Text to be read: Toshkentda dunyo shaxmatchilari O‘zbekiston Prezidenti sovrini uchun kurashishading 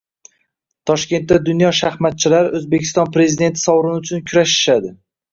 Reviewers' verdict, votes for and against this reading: accepted, 2, 1